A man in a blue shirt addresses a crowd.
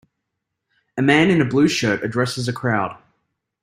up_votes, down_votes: 2, 0